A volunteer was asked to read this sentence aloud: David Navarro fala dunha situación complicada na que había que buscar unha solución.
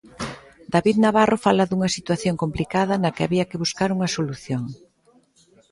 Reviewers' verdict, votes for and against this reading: accepted, 2, 0